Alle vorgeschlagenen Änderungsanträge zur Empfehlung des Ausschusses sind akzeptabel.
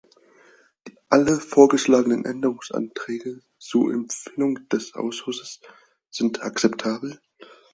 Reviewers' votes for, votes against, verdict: 4, 0, accepted